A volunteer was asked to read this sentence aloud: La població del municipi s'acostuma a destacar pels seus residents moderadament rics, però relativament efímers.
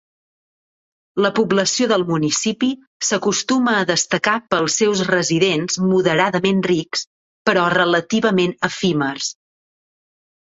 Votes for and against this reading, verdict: 4, 0, accepted